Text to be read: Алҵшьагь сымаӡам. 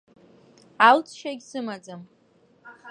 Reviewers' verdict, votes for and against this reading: accepted, 2, 1